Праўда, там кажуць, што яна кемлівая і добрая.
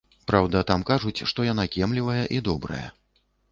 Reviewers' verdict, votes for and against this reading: accepted, 2, 0